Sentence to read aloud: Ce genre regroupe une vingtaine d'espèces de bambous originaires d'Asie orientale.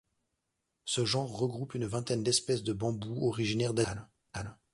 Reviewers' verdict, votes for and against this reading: rejected, 0, 2